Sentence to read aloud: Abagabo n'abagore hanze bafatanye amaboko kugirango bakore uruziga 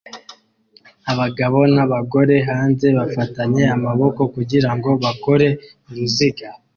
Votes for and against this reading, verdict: 2, 0, accepted